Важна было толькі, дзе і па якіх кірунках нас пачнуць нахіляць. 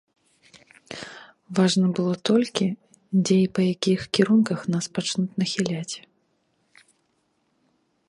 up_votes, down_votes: 2, 0